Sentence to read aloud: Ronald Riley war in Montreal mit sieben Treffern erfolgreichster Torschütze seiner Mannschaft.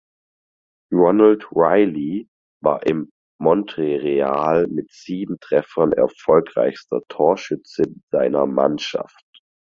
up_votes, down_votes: 0, 4